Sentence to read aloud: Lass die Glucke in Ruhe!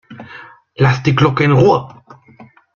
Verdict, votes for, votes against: accepted, 2, 0